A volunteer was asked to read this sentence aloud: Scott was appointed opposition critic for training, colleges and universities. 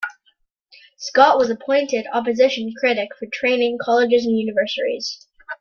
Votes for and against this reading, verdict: 2, 1, accepted